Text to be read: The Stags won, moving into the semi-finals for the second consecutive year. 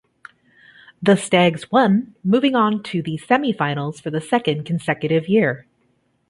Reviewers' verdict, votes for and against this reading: rejected, 1, 3